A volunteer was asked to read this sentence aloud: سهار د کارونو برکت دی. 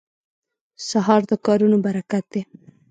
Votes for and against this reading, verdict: 2, 0, accepted